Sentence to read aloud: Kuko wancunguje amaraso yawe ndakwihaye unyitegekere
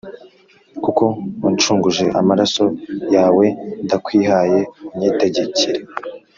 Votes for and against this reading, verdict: 2, 0, accepted